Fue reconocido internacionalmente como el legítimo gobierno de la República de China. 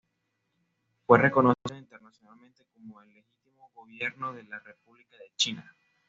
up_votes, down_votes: 1, 2